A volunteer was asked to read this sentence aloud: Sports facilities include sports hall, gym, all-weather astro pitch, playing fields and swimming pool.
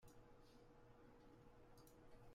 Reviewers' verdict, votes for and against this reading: rejected, 0, 2